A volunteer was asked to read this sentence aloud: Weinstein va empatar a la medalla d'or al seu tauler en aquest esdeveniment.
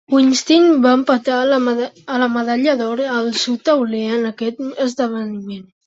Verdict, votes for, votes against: rejected, 1, 3